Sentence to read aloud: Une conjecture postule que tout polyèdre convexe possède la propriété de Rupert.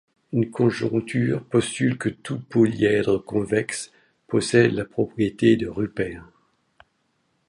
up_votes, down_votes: 0, 2